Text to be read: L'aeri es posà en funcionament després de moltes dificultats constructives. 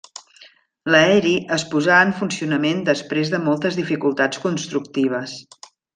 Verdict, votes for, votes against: accepted, 3, 0